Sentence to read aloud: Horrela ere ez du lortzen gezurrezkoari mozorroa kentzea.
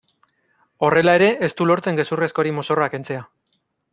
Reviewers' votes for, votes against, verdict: 2, 0, accepted